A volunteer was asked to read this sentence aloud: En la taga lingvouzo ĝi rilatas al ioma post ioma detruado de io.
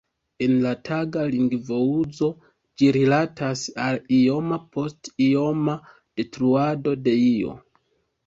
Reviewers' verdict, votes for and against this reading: accepted, 3, 0